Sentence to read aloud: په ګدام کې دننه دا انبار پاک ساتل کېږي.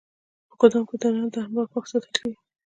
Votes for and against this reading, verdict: 1, 2, rejected